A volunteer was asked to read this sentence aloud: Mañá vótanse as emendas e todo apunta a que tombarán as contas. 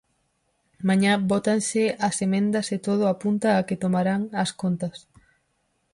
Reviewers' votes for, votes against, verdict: 2, 4, rejected